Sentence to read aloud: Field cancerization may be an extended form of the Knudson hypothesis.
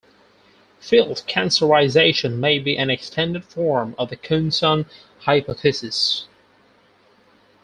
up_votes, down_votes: 0, 4